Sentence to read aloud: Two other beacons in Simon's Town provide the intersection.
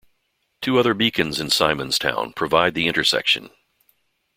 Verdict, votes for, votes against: accepted, 2, 0